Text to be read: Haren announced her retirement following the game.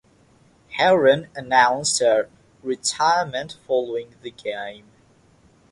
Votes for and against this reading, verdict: 6, 3, accepted